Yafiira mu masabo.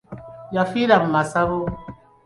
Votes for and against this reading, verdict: 2, 0, accepted